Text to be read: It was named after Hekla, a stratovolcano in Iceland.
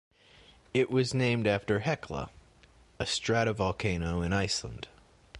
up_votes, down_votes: 2, 1